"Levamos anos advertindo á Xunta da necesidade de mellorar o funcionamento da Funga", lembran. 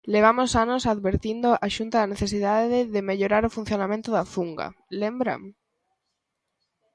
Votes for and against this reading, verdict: 1, 2, rejected